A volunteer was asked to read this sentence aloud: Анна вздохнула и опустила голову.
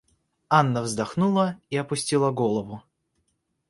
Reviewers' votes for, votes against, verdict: 2, 0, accepted